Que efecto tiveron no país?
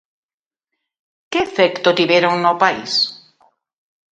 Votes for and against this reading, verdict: 2, 0, accepted